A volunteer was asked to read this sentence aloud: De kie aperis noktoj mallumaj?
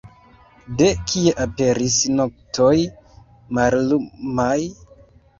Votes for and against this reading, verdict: 0, 2, rejected